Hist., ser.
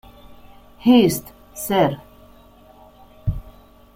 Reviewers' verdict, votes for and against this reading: rejected, 1, 2